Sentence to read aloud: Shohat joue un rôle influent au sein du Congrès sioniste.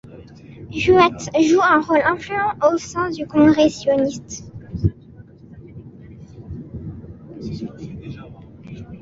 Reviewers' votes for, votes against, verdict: 0, 2, rejected